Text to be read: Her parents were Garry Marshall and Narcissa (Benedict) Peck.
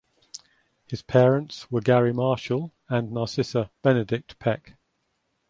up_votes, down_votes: 0, 2